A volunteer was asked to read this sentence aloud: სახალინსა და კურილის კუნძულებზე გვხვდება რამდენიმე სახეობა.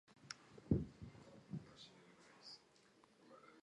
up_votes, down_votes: 1, 2